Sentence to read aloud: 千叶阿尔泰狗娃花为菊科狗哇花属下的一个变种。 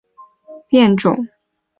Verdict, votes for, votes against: rejected, 1, 3